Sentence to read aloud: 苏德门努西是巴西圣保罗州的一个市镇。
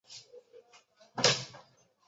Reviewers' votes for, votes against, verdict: 0, 2, rejected